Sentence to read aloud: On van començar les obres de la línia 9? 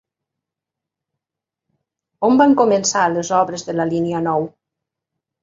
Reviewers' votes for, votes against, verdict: 0, 2, rejected